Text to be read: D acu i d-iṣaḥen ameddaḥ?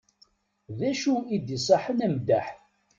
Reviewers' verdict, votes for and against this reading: accepted, 2, 0